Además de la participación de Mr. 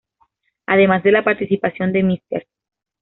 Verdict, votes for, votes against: accepted, 2, 0